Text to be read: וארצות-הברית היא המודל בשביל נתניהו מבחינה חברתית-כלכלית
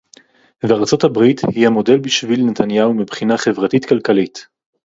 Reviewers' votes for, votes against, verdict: 4, 0, accepted